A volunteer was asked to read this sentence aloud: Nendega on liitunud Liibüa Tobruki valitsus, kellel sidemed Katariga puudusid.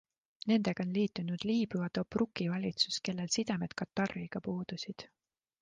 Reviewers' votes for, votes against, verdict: 2, 0, accepted